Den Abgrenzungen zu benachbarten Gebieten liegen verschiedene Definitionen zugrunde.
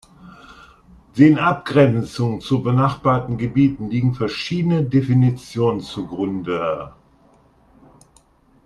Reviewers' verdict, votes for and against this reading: accepted, 2, 1